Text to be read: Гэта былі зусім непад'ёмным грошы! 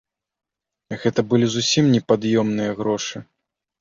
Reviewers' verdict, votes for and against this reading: rejected, 1, 2